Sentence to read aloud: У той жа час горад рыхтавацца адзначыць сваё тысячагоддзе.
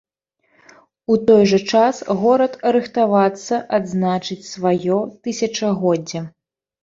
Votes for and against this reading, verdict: 2, 0, accepted